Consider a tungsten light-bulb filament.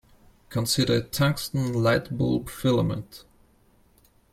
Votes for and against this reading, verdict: 1, 2, rejected